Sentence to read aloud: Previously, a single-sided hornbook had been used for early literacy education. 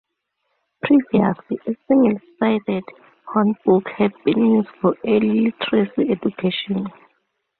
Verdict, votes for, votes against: accepted, 2, 0